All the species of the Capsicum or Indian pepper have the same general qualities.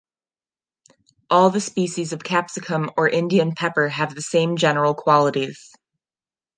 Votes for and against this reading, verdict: 2, 0, accepted